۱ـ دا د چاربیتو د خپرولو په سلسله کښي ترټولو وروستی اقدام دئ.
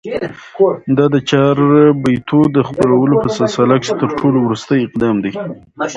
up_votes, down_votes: 0, 2